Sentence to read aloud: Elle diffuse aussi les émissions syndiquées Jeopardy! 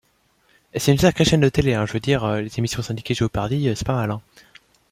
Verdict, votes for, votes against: rejected, 0, 2